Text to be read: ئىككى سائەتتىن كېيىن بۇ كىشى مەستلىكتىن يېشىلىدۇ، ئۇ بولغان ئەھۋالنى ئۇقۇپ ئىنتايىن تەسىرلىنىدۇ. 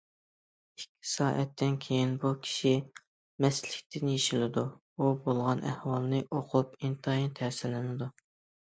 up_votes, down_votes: 2, 1